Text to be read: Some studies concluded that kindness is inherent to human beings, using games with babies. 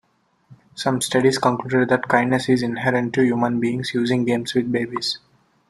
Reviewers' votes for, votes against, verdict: 2, 0, accepted